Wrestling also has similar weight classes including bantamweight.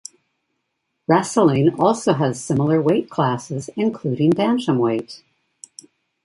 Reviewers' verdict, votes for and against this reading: accepted, 2, 0